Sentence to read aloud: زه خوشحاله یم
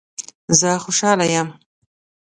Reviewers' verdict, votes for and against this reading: accepted, 2, 0